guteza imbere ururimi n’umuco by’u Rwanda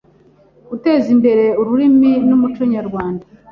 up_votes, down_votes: 0, 2